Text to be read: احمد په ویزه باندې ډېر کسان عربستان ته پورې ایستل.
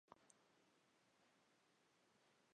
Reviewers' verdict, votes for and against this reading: rejected, 1, 2